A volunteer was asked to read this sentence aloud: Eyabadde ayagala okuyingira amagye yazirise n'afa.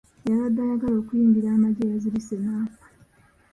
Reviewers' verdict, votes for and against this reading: accepted, 2, 1